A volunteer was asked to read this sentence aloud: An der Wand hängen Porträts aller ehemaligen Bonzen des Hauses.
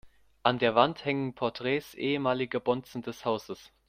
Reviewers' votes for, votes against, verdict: 0, 2, rejected